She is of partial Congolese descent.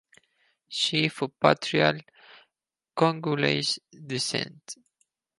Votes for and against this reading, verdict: 0, 4, rejected